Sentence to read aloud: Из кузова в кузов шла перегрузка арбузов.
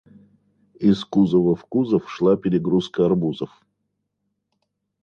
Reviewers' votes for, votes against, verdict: 2, 0, accepted